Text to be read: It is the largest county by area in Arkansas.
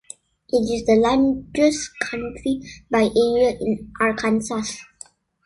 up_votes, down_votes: 0, 2